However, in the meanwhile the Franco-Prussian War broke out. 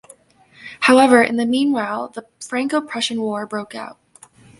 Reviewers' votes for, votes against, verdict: 0, 2, rejected